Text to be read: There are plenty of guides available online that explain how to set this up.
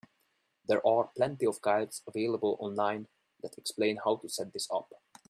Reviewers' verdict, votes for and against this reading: accepted, 2, 0